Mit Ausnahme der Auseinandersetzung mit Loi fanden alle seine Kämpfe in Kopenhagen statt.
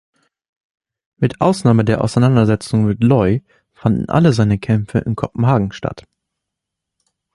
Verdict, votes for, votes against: accepted, 2, 0